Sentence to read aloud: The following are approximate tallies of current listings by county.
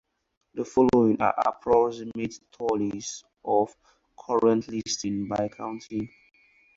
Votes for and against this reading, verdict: 2, 4, rejected